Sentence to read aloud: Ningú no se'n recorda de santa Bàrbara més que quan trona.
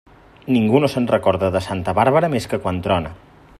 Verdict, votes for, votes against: accepted, 4, 0